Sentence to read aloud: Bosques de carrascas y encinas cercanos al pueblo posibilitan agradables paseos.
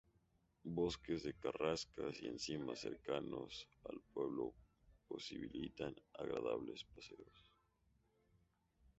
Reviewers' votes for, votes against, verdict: 0, 2, rejected